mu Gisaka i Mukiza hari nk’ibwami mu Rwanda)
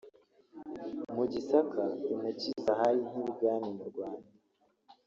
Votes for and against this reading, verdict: 1, 2, rejected